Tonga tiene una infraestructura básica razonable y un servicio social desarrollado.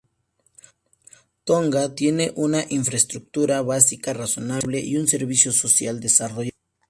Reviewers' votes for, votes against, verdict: 0, 2, rejected